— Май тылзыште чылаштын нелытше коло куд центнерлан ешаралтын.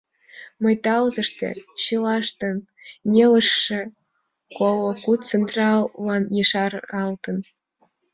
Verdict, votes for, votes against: rejected, 0, 2